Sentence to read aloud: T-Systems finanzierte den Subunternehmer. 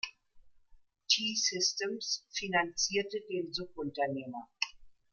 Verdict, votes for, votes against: accepted, 2, 0